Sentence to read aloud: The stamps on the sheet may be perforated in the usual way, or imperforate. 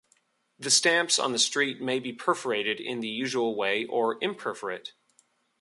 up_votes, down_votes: 0, 2